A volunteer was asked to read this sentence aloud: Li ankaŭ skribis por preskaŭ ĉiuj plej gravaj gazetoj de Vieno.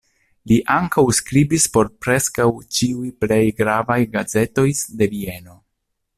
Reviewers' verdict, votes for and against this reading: rejected, 0, 2